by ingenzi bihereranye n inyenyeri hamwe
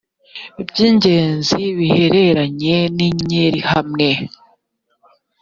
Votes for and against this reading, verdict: 1, 2, rejected